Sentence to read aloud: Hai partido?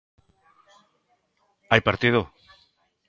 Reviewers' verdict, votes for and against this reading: accepted, 2, 0